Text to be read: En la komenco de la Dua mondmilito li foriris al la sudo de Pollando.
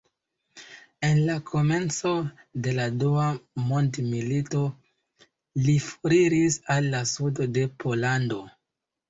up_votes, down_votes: 0, 2